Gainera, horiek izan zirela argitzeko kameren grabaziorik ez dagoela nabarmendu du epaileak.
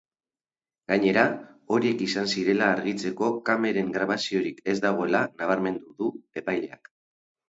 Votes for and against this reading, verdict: 2, 0, accepted